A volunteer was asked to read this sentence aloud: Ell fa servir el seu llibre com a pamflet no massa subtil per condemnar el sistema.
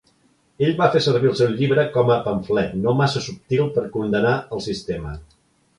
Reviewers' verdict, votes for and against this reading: accepted, 2, 0